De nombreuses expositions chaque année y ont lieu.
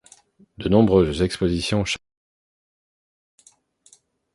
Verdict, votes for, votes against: rejected, 0, 2